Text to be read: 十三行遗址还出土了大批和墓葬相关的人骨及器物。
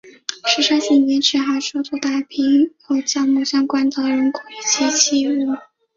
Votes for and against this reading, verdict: 0, 2, rejected